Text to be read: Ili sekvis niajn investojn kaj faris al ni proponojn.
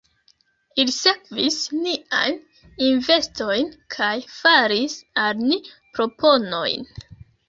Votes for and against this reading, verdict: 2, 1, accepted